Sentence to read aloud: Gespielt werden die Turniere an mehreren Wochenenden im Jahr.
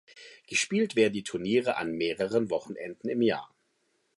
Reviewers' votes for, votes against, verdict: 2, 0, accepted